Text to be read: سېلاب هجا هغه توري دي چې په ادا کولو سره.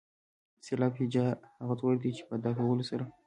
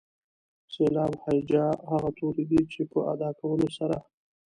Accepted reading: second